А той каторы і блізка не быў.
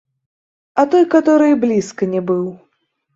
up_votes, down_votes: 1, 2